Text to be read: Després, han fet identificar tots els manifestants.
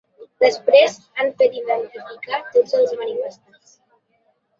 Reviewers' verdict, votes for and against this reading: rejected, 1, 2